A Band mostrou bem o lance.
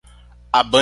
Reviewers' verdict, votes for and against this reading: rejected, 0, 2